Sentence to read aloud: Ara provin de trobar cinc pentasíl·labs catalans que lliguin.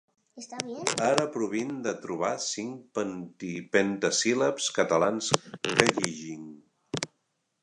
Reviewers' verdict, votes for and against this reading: rejected, 1, 2